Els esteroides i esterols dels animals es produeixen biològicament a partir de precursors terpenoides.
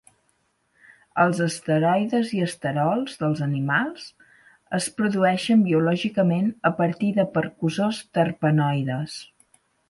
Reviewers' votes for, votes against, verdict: 0, 4, rejected